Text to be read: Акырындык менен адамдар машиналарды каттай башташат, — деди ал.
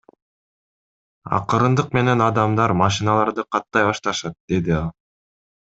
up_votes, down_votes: 2, 0